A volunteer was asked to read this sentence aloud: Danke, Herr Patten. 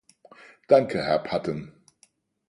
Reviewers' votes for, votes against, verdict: 4, 0, accepted